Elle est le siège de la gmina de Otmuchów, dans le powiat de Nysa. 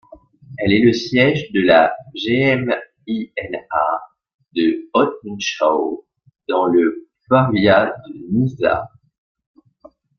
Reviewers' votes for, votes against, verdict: 1, 2, rejected